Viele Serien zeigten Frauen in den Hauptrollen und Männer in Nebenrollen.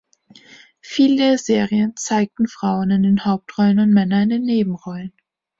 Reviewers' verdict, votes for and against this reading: accepted, 2, 1